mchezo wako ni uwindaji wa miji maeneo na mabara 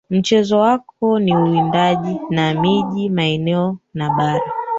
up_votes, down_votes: 1, 2